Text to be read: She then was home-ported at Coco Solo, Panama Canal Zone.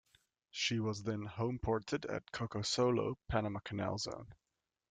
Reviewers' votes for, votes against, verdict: 1, 2, rejected